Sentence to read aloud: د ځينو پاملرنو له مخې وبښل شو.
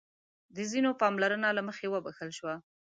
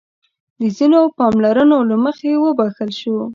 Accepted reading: second